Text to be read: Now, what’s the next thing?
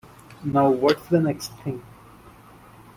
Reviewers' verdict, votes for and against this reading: accepted, 2, 0